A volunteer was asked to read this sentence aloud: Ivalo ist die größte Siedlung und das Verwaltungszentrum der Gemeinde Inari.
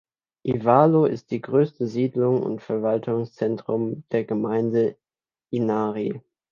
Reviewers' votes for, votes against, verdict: 1, 2, rejected